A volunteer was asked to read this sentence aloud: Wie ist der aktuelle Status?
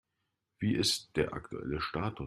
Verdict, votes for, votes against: rejected, 0, 2